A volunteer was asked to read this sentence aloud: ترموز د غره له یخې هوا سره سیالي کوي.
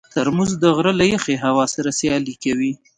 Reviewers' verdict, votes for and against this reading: accepted, 2, 0